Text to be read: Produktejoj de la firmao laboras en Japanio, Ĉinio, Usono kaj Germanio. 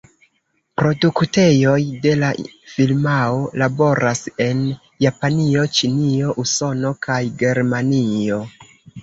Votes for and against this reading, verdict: 0, 2, rejected